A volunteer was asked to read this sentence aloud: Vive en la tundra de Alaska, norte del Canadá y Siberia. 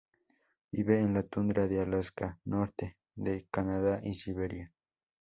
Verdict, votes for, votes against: rejected, 0, 2